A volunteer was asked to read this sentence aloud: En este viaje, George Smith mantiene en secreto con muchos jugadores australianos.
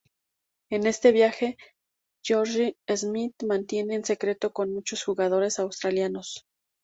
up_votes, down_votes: 0, 2